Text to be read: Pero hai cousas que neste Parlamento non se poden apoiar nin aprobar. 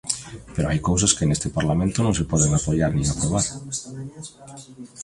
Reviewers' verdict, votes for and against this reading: accepted, 2, 0